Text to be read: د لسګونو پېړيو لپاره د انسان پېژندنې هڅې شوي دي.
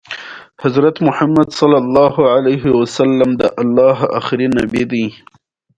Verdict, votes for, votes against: rejected, 1, 2